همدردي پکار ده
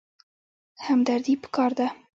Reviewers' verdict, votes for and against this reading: accepted, 2, 1